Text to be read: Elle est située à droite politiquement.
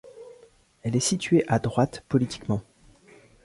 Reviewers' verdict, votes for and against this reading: accepted, 2, 0